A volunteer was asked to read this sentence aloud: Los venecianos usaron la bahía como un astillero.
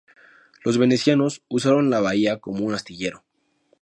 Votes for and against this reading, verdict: 2, 0, accepted